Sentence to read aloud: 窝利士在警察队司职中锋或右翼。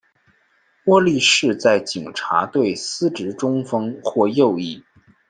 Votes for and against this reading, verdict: 2, 0, accepted